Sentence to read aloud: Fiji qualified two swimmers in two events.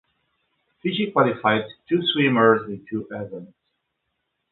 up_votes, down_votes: 2, 0